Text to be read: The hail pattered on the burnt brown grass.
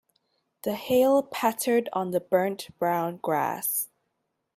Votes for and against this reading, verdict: 2, 0, accepted